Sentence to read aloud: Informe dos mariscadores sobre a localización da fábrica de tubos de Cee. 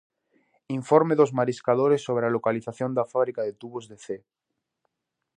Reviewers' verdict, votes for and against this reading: accepted, 2, 0